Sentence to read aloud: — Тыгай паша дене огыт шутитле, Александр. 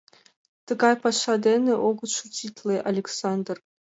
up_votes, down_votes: 2, 0